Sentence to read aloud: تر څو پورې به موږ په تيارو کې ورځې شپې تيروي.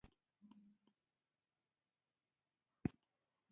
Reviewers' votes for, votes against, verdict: 0, 2, rejected